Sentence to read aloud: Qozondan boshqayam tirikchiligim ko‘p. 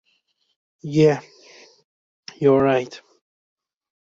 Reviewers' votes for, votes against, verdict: 0, 2, rejected